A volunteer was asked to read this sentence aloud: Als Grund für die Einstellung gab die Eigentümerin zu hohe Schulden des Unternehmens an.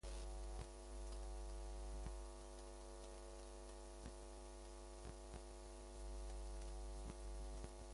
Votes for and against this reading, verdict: 0, 2, rejected